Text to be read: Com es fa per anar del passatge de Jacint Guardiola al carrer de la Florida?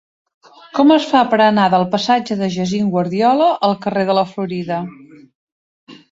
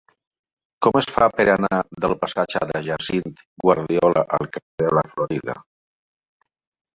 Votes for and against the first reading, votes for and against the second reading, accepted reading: 0, 2, 2, 1, second